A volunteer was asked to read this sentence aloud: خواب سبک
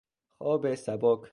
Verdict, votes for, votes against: accepted, 2, 0